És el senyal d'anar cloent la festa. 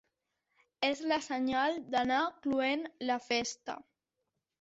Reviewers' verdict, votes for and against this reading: accepted, 2, 1